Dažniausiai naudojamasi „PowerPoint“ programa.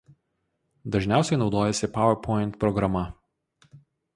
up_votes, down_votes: 0, 2